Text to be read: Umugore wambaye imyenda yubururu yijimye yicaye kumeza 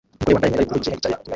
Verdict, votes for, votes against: rejected, 0, 2